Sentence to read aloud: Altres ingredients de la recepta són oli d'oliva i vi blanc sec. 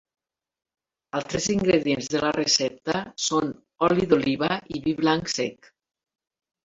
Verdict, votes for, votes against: accepted, 2, 0